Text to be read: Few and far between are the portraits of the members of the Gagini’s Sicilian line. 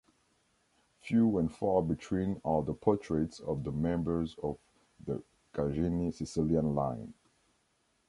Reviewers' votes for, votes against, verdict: 2, 0, accepted